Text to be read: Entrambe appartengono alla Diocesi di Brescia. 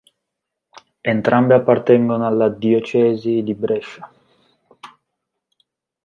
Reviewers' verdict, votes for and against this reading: rejected, 0, 2